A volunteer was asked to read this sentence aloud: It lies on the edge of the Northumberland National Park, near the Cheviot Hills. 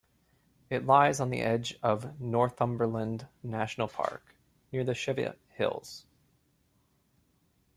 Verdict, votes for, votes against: accepted, 2, 1